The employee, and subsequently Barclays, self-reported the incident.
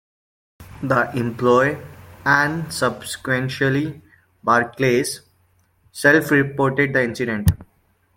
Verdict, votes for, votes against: rejected, 1, 2